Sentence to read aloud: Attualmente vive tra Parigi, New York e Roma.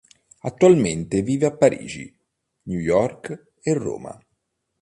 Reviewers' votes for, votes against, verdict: 0, 2, rejected